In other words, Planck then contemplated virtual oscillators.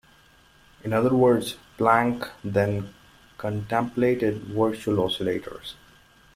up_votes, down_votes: 2, 0